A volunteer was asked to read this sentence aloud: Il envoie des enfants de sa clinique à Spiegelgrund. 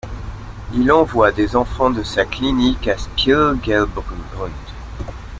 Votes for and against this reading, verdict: 1, 2, rejected